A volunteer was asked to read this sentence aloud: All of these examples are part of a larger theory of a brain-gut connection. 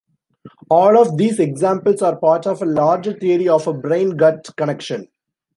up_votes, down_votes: 3, 0